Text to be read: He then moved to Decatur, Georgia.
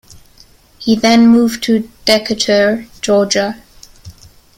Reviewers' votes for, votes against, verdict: 1, 2, rejected